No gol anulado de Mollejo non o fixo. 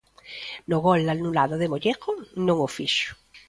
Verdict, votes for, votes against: accepted, 2, 1